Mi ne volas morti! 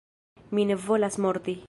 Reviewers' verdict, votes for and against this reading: accepted, 2, 0